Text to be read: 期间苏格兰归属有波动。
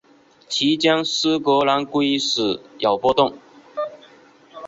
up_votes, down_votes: 3, 0